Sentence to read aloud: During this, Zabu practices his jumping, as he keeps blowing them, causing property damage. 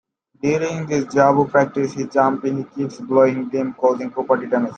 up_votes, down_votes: 1, 2